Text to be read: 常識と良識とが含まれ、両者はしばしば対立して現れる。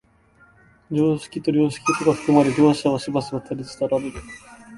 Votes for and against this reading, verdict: 1, 2, rejected